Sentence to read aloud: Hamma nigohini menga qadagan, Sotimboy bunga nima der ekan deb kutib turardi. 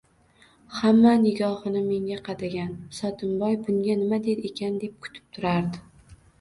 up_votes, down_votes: 2, 0